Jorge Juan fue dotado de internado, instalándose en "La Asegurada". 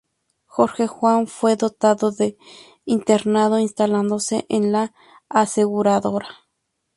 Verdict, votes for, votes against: rejected, 0, 2